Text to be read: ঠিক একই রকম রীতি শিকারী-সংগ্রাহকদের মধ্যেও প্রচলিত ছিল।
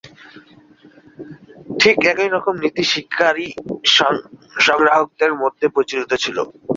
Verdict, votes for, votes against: rejected, 1, 2